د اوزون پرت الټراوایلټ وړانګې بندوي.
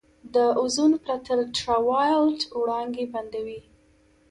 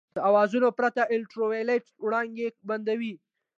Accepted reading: first